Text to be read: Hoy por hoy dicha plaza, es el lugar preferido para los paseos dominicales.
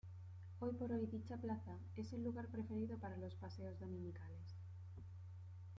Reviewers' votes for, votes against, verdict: 1, 2, rejected